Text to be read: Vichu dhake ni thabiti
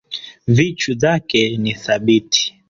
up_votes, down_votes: 2, 1